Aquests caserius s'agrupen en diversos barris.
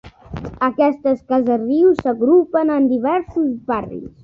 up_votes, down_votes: 0, 2